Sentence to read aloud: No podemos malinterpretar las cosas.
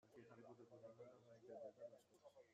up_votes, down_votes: 0, 2